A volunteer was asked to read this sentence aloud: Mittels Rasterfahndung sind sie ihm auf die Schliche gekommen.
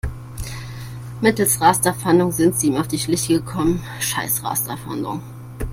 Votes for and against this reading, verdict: 1, 2, rejected